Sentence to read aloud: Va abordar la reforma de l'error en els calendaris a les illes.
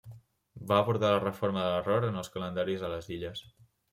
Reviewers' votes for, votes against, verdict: 2, 0, accepted